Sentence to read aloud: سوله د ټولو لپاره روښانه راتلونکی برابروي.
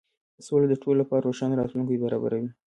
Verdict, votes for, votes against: rejected, 0, 2